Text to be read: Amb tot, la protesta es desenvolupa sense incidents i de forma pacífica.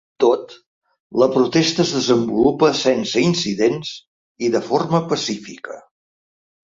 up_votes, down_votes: 0, 5